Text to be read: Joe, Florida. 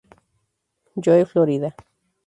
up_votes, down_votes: 4, 0